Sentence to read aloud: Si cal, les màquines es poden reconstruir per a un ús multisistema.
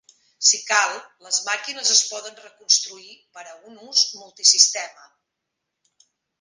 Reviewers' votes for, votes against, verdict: 1, 3, rejected